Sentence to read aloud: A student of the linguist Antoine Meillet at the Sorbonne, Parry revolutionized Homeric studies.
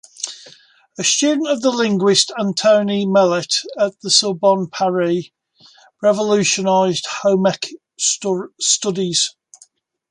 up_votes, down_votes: 0, 2